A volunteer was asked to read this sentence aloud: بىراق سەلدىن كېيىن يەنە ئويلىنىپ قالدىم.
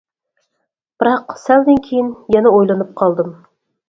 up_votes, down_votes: 4, 0